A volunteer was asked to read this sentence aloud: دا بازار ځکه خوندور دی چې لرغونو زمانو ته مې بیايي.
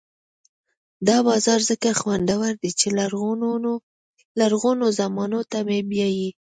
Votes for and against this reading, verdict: 0, 2, rejected